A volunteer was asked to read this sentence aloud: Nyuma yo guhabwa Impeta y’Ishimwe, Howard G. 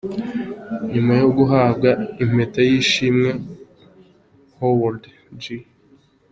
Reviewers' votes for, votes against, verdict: 2, 0, accepted